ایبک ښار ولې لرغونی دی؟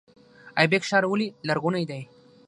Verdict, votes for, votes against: rejected, 3, 3